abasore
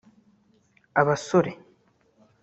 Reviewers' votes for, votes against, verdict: 2, 1, accepted